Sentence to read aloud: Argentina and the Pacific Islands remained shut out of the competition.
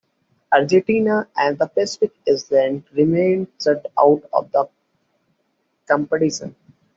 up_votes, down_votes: 0, 3